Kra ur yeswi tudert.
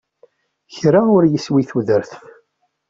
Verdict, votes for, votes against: accepted, 2, 0